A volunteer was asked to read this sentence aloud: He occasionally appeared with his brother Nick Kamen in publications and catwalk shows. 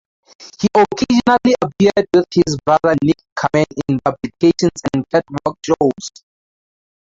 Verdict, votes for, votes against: accepted, 2, 0